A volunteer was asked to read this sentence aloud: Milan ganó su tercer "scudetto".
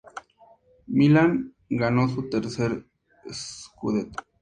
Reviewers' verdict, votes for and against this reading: accepted, 2, 0